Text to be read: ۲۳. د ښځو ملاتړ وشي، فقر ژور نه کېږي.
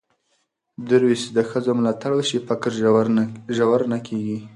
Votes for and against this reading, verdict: 0, 2, rejected